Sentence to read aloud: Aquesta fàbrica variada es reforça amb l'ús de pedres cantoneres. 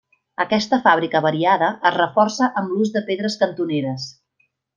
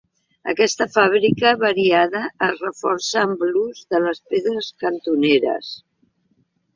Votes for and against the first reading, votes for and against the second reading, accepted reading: 3, 0, 0, 2, first